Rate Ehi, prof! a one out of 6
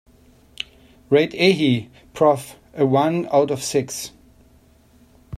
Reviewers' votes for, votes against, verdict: 0, 2, rejected